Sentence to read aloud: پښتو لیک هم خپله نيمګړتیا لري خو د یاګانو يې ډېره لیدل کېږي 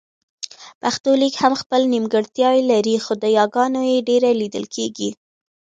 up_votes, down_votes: 0, 2